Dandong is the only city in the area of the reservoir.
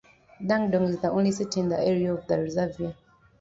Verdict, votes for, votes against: rejected, 0, 2